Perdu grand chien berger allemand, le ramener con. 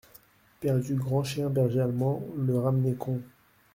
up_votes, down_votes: 2, 1